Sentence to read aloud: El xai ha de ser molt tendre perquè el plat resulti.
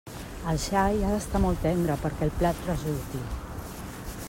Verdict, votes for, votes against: rejected, 0, 2